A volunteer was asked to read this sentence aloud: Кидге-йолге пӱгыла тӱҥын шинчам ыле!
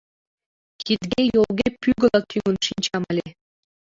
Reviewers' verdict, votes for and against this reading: rejected, 0, 2